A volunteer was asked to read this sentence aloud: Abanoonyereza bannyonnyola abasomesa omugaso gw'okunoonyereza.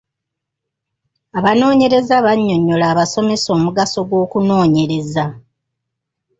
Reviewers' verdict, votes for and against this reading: accepted, 2, 0